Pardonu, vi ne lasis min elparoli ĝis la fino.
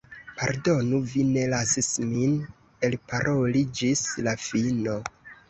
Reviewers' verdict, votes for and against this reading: rejected, 0, 2